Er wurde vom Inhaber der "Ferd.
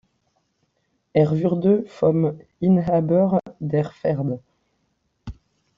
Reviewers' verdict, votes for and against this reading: rejected, 0, 2